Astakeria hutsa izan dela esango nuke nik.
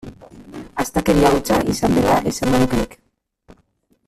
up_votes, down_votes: 0, 2